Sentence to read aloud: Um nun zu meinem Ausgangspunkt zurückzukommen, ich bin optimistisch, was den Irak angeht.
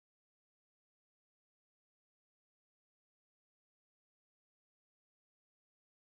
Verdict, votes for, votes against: rejected, 0, 2